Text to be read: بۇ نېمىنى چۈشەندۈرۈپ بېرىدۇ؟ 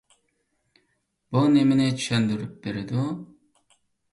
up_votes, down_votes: 2, 0